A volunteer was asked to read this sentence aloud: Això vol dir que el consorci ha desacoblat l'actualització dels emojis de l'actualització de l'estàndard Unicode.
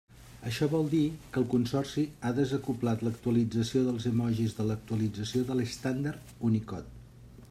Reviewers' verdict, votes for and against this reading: accepted, 3, 1